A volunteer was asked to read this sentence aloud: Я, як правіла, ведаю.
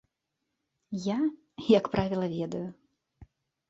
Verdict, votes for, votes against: accepted, 2, 0